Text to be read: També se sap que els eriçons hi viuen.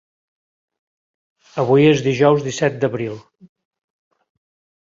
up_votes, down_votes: 0, 3